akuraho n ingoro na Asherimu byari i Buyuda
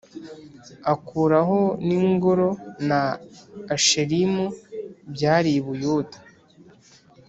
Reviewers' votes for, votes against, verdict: 3, 0, accepted